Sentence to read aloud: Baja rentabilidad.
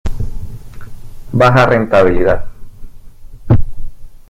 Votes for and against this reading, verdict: 2, 0, accepted